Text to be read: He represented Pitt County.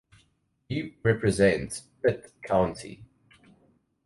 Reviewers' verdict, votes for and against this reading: rejected, 0, 2